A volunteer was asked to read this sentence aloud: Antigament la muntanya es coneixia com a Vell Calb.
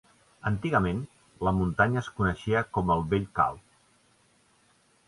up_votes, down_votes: 1, 2